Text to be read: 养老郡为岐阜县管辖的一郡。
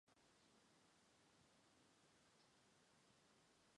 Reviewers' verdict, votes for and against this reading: rejected, 0, 2